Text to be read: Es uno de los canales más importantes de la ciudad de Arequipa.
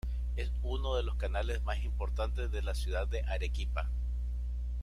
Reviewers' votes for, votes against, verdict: 1, 2, rejected